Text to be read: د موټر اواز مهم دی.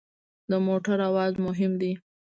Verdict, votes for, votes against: accepted, 2, 0